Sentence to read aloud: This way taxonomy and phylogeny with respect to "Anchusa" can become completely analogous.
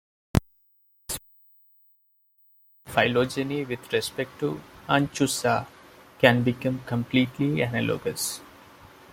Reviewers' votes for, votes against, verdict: 0, 2, rejected